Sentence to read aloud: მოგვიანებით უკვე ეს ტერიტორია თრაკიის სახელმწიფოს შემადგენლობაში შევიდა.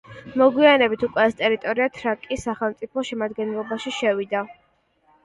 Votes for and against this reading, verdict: 2, 0, accepted